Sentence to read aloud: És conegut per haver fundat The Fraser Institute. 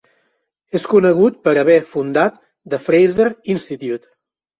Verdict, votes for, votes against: accepted, 4, 0